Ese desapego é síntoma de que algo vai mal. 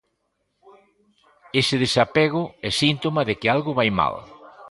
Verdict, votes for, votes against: accepted, 2, 0